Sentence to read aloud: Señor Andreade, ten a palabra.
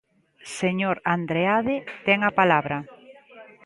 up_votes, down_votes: 2, 1